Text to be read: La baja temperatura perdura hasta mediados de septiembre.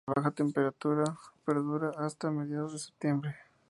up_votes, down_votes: 2, 2